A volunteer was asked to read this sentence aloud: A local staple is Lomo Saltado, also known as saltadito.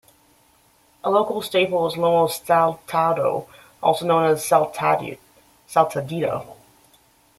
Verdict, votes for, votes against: rejected, 1, 2